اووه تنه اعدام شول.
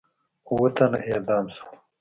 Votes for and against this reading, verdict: 1, 2, rejected